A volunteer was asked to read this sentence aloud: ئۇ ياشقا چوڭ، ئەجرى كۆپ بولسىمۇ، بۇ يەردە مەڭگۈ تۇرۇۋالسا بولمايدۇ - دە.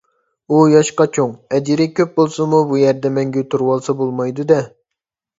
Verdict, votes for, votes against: accepted, 2, 0